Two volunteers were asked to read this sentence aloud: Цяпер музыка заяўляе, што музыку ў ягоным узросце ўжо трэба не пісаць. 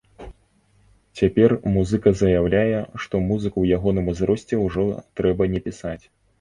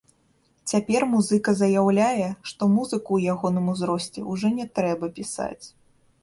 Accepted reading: first